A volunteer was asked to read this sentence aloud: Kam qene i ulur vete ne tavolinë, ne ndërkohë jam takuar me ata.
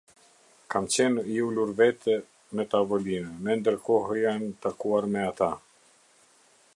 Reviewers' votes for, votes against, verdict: 0, 2, rejected